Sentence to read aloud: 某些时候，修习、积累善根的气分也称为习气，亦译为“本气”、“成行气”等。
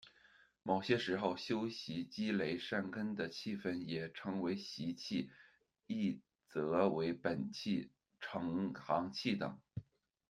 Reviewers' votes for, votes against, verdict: 1, 2, rejected